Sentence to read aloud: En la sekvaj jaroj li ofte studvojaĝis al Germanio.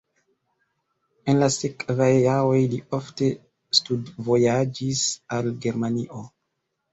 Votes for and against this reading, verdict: 2, 1, accepted